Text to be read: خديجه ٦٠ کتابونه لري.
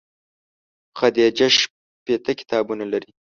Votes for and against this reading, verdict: 0, 2, rejected